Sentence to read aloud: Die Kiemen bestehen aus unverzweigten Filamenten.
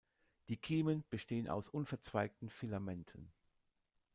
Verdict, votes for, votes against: rejected, 1, 2